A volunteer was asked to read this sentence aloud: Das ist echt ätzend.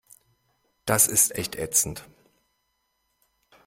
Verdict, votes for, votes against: accepted, 2, 0